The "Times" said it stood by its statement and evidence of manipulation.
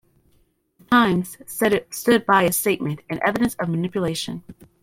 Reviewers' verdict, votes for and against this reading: rejected, 0, 2